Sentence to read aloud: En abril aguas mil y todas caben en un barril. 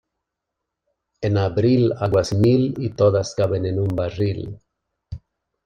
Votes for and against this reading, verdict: 2, 0, accepted